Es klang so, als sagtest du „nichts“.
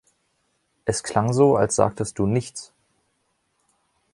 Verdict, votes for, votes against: accepted, 3, 0